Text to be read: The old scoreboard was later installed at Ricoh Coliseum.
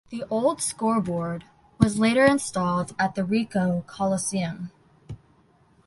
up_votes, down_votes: 1, 2